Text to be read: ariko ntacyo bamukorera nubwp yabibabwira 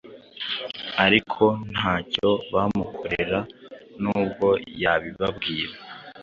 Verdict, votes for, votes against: rejected, 1, 2